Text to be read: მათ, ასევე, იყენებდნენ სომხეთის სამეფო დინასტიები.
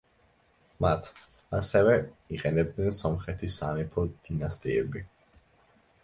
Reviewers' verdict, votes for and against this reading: accepted, 2, 0